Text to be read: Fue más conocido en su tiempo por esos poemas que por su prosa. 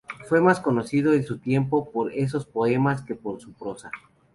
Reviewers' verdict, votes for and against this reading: accepted, 2, 0